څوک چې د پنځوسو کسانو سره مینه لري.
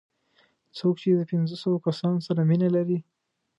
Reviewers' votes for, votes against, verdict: 1, 2, rejected